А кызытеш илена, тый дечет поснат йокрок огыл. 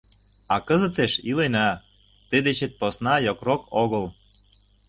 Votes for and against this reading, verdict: 0, 2, rejected